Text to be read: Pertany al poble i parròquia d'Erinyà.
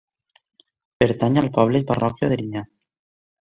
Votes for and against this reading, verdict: 2, 1, accepted